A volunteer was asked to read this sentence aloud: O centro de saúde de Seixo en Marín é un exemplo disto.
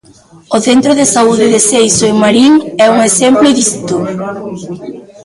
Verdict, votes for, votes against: accepted, 2, 0